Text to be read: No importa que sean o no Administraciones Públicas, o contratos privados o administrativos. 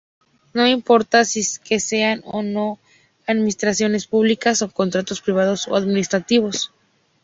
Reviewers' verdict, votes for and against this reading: rejected, 0, 2